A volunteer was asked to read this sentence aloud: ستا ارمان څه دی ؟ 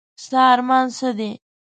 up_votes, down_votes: 2, 0